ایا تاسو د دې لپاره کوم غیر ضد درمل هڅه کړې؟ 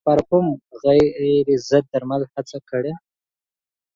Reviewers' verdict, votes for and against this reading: rejected, 0, 2